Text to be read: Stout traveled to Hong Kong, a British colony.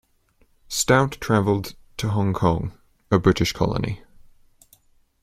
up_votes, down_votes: 2, 0